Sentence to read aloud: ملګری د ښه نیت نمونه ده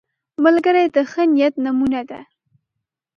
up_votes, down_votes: 2, 0